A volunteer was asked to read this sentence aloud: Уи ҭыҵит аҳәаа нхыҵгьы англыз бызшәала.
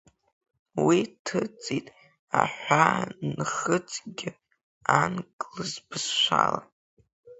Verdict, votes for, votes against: rejected, 1, 2